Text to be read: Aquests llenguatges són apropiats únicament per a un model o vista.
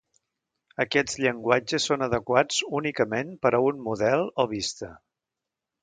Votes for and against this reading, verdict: 0, 2, rejected